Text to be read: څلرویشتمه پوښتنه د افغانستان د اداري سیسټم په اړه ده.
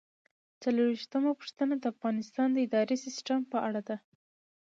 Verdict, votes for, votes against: accepted, 2, 1